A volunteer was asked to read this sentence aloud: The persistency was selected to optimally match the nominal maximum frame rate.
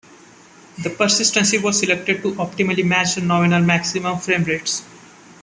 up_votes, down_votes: 0, 2